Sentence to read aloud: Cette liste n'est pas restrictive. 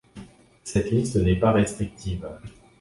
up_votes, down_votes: 2, 0